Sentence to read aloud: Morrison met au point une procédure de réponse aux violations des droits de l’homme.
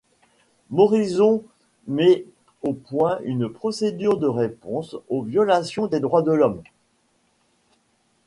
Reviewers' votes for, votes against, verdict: 1, 2, rejected